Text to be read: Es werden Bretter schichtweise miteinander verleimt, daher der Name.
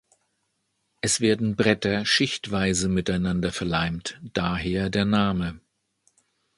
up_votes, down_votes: 2, 0